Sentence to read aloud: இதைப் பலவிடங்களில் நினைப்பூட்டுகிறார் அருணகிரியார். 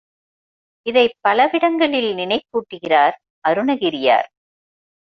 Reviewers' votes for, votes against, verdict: 1, 2, rejected